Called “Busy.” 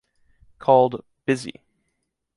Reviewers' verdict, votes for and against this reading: accepted, 2, 0